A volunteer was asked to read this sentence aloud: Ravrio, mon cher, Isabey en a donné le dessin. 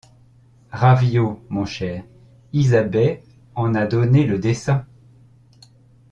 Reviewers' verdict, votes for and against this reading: rejected, 0, 2